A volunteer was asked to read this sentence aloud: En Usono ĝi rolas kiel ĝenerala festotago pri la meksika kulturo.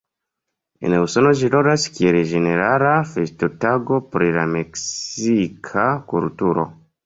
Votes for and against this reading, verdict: 2, 0, accepted